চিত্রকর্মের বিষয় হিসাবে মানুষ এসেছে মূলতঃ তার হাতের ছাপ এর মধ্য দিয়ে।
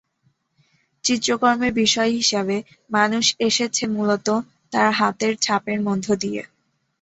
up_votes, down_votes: 2, 0